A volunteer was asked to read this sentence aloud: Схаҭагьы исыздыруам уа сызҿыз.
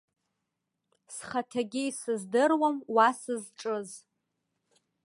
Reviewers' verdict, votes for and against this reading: rejected, 0, 2